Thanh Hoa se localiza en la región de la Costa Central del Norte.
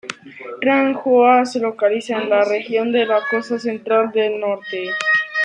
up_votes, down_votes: 0, 2